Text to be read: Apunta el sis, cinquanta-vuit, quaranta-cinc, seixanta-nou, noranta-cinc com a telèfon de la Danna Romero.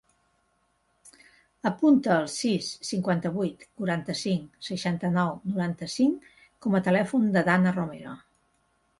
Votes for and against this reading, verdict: 2, 0, accepted